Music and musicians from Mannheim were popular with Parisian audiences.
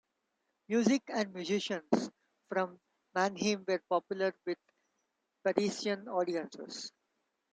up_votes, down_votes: 2, 1